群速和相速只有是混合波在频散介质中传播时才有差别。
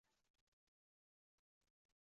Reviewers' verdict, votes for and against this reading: rejected, 0, 2